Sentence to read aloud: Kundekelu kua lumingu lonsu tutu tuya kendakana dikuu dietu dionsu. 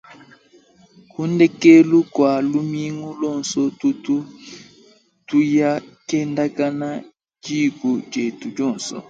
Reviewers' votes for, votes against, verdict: 2, 0, accepted